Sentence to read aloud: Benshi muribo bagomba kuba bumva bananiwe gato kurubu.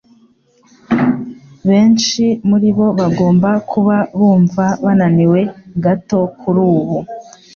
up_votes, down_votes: 3, 0